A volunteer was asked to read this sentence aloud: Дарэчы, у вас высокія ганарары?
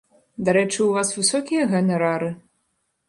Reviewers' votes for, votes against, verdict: 2, 0, accepted